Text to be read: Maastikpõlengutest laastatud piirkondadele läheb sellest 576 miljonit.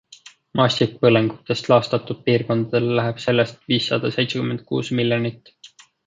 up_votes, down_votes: 0, 2